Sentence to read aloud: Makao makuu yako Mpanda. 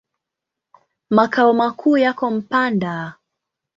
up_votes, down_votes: 2, 0